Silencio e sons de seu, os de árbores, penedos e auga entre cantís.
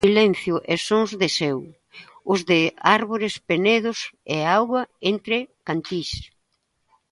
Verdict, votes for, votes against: rejected, 0, 2